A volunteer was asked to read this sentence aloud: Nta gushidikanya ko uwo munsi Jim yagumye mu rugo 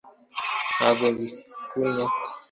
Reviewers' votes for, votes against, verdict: 0, 2, rejected